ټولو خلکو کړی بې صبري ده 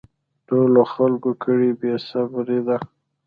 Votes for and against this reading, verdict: 0, 2, rejected